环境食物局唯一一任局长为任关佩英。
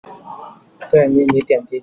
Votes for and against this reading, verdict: 0, 2, rejected